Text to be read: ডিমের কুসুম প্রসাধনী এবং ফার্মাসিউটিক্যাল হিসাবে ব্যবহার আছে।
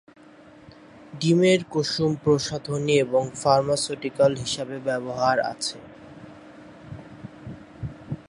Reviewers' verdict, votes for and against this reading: rejected, 0, 2